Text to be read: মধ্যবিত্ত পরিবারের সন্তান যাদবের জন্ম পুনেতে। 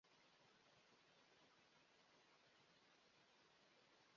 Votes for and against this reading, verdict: 0, 2, rejected